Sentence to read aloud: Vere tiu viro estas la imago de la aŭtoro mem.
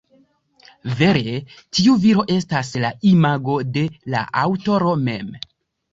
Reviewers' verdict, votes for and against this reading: accepted, 2, 0